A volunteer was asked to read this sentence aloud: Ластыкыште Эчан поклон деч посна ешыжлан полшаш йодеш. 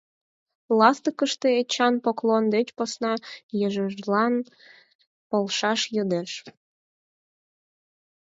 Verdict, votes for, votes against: accepted, 4, 2